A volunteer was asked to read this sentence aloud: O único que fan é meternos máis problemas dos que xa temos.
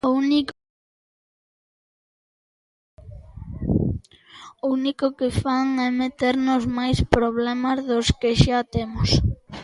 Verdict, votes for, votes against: rejected, 1, 2